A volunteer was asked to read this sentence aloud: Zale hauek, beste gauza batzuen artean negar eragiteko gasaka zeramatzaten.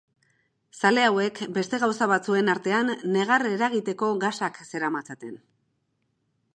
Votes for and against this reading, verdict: 0, 2, rejected